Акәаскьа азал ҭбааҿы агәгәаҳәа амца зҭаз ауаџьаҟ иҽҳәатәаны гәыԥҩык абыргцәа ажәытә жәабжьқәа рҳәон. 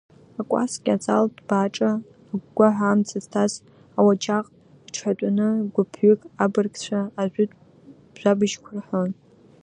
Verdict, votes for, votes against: rejected, 1, 2